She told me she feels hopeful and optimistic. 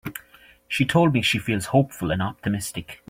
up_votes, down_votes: 2, 0